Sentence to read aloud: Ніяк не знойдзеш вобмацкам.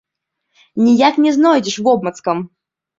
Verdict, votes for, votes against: rejected, 0, 2